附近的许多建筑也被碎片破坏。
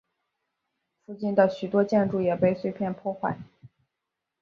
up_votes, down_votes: 4, 1